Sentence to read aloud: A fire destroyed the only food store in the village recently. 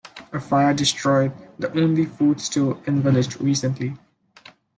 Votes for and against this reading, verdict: 1, 2, rejected